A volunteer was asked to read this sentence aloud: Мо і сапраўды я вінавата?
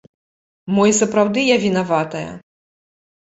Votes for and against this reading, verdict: 0, 2, rejected